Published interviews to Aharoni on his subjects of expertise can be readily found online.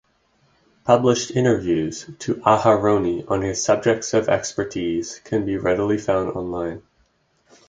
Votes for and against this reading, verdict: 6, 0, accepted